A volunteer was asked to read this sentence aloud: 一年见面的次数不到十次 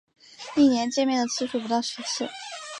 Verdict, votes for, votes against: accepted, 4, 0